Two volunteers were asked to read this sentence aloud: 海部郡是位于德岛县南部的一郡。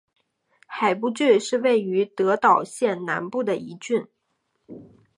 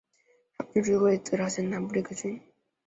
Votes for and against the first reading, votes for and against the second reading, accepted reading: 2, 1, 0, 4, first